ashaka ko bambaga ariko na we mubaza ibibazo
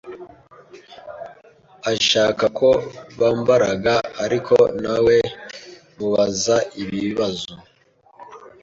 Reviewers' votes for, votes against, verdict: 0, 2, rejected